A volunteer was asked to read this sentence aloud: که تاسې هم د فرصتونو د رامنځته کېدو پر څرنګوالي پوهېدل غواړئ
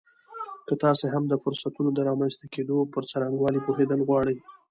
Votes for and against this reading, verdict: 2, 1, accepted